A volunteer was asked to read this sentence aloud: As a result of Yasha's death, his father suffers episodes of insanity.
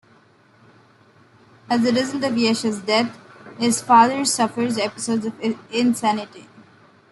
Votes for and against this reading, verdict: 1, 2, rejected